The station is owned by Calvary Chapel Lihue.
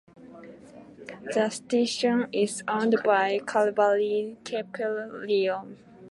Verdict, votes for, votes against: rejected, 1, 2